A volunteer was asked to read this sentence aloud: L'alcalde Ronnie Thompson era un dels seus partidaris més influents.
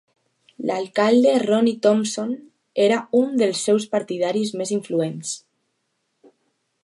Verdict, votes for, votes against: accepted, 3, 0